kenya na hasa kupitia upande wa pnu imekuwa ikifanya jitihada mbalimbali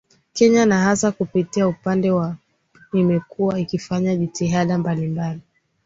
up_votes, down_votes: 2, 0